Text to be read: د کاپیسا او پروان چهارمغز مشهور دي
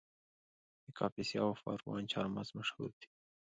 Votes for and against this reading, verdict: 2, 0, accepted